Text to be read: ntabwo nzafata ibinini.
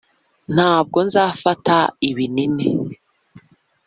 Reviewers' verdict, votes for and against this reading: accepted, 2, 0